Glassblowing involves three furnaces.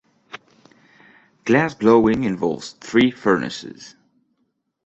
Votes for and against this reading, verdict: 2, 0, accepted